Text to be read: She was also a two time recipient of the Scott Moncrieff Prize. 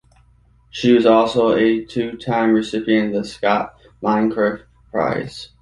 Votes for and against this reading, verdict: 1, 2, rejected